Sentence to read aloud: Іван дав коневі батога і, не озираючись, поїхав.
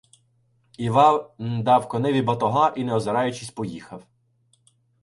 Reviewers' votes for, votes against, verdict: 1, 2, rejected